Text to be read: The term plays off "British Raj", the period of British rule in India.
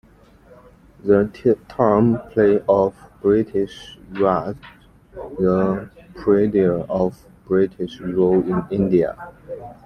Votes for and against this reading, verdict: 0, 2, rejected